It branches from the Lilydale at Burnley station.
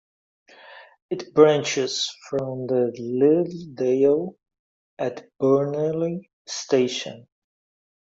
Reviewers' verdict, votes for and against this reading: rejected, 0, 2